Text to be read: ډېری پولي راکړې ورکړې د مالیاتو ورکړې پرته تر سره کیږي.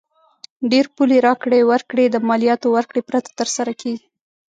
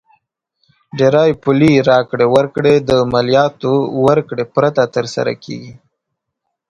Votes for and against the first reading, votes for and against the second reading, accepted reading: 2, 3, 3, 0, second